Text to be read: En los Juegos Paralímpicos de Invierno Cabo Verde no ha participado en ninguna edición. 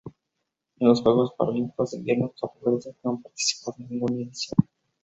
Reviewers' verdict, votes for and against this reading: rejected, 2, 2